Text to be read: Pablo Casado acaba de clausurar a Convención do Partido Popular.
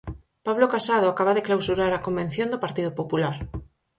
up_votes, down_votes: 4, 0